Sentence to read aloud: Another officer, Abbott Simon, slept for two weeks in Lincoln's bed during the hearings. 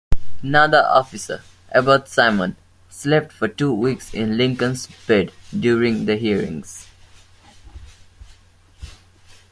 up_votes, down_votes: 2, 0